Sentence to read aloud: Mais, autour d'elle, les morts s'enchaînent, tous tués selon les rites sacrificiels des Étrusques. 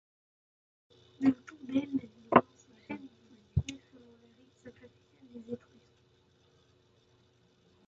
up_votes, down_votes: 0, 2